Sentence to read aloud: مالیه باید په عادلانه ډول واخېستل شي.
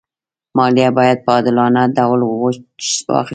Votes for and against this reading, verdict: 2, 0, accepted